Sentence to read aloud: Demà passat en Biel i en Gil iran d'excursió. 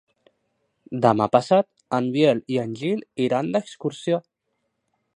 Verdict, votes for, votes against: accepted, 3, 0